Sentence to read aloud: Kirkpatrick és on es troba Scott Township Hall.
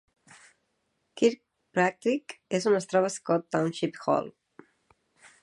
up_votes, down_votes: 1, 2